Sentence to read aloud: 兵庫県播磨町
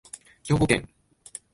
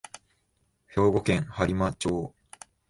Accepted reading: second